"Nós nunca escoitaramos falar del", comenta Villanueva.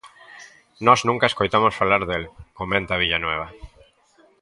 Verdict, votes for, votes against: rejected, 0, 2